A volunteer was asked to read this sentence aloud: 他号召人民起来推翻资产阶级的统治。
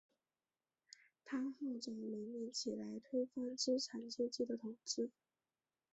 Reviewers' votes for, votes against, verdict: 2, 4, rejected